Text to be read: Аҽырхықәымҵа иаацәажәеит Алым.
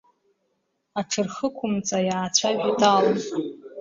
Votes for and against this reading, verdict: 0, 2, rejected